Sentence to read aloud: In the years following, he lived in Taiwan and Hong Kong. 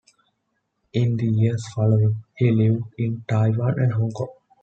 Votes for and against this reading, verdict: 2, 0, accepted